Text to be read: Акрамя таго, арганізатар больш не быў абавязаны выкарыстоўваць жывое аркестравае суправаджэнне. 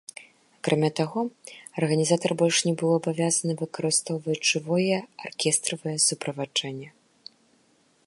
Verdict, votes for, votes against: accepted, 2, 0